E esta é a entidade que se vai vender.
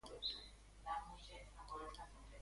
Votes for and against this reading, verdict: 0, 2, rejected